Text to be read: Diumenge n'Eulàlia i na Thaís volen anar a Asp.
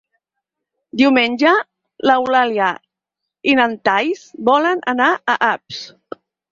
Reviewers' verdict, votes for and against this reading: rejected, 0, 6